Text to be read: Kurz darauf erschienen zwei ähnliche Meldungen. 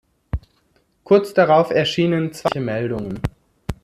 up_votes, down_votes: 0, 2